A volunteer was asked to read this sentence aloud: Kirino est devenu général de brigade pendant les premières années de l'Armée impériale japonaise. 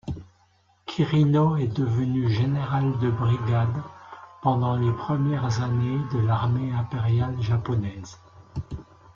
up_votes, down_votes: 0, 2